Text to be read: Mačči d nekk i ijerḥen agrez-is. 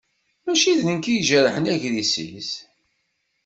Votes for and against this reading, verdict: 2, 0, accepted